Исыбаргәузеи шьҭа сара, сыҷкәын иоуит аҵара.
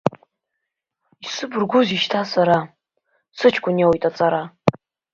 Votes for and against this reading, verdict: 2, 1, accepted